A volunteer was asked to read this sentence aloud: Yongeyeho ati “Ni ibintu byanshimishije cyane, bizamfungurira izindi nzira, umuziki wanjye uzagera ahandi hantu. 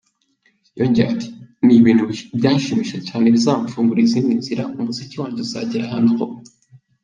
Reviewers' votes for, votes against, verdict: 1, 3, rejected